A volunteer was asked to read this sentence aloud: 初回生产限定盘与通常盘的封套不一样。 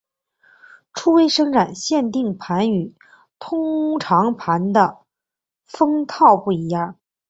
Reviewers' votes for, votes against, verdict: 4, 0, accepted